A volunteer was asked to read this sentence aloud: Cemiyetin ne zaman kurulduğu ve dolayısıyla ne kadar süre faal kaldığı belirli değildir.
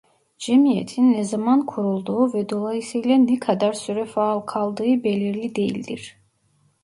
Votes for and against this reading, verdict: 1, 2, rejected